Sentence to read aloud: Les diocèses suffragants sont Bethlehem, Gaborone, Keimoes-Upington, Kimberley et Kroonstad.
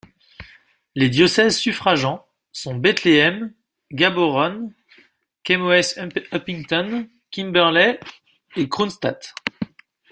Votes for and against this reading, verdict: 0, 2, rejected